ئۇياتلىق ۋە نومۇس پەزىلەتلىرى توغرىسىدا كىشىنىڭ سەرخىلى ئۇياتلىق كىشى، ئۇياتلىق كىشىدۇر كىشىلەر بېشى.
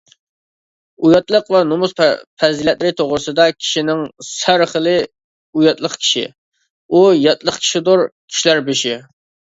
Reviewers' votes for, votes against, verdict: 1, 2, rejected